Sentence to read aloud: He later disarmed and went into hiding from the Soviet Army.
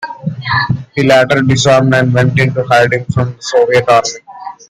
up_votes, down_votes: 2, 1